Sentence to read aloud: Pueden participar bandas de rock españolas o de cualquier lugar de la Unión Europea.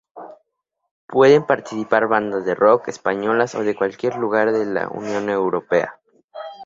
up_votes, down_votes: 2, 0